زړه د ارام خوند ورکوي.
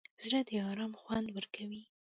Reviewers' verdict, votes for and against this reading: rejected, 1, 2